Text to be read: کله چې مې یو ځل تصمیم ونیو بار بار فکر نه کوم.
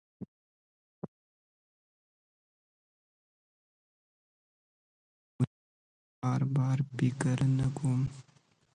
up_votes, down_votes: 1, 2